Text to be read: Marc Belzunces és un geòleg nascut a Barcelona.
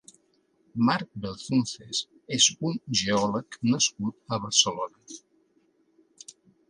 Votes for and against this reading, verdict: 2, 0, accepted